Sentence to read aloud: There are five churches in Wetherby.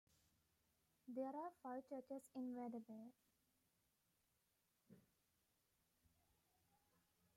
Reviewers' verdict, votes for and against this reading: accepted, 2, 1